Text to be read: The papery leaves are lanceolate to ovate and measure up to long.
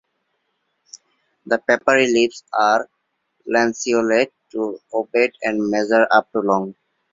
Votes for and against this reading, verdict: 2, 0, accepted